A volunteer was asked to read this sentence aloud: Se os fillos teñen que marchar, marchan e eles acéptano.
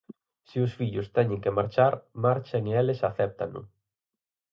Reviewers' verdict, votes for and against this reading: accepted, 4, 0